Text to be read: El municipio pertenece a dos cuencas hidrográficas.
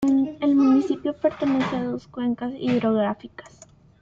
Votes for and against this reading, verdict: 2, 0, accepted